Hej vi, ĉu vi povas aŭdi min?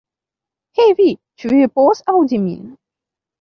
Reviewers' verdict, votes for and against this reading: accepted, 3, 1